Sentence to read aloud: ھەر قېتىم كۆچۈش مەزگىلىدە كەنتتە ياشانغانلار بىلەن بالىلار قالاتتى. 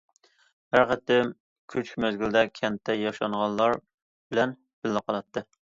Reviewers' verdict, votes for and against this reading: rejected, 0, 2